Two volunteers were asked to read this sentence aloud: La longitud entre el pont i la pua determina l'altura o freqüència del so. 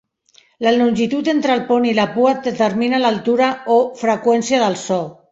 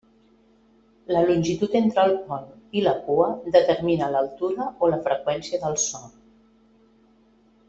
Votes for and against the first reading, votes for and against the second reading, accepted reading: 2, 0, 0, 2, first